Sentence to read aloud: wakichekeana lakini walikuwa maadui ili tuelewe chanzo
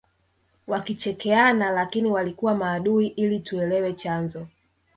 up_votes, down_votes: 1, 3